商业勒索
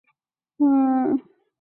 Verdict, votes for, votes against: rejected, 0, 4